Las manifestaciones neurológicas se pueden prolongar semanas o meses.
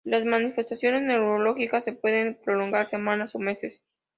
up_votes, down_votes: 3, 0